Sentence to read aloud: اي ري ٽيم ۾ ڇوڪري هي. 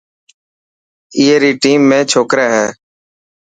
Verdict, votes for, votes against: accepted, 4, 0